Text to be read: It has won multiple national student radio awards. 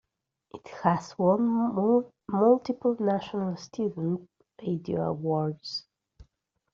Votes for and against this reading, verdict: 1, 2, rejected